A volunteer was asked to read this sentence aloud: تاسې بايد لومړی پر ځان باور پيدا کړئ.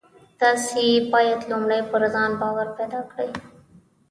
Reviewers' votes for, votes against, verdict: 1, 2, rejected